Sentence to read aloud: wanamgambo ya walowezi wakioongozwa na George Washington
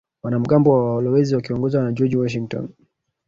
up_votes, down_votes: 1, 2